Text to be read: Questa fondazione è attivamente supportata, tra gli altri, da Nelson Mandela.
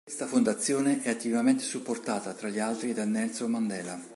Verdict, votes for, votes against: accepted, 2, 0